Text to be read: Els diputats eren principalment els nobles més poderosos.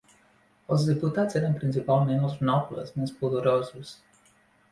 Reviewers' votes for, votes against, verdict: 3, 0, accepted